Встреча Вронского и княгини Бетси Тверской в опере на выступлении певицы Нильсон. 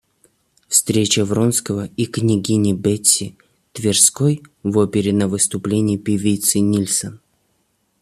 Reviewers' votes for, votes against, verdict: 0, 2, rejected